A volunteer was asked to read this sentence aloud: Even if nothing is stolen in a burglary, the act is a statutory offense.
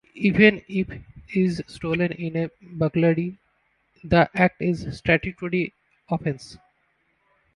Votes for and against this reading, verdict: 0, 2, rejected